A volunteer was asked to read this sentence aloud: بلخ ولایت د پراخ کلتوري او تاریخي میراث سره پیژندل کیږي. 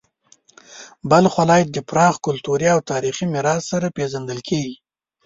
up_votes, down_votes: 2, 0